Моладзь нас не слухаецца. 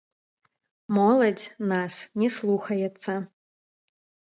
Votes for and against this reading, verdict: 0, 2, rejected